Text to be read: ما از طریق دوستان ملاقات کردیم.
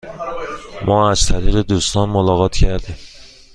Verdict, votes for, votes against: accepted, 2, 0